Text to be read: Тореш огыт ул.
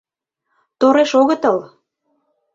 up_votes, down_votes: 0, 2